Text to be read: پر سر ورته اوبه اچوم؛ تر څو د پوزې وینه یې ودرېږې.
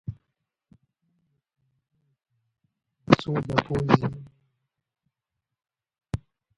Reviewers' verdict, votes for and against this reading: rejected, 1, 2